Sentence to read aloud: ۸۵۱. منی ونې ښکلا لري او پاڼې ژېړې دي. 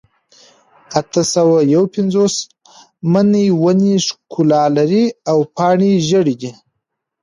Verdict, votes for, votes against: rejected, 0, 2